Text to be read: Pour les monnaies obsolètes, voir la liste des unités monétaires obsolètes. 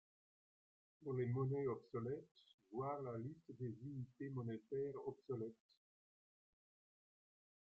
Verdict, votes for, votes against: rejected, 1, 2